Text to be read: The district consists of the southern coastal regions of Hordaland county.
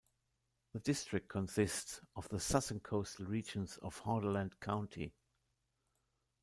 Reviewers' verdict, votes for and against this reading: rejected, 1, 2